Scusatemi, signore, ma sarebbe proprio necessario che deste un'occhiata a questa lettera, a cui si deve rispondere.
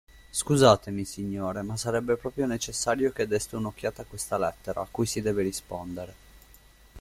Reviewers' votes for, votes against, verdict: 2, 0, accepted